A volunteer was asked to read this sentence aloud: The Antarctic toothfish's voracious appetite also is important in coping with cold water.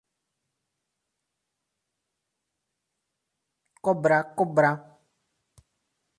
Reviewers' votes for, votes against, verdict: 0, 2, rejected